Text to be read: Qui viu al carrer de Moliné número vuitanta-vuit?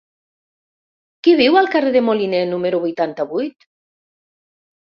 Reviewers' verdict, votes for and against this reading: accepted, 3, 0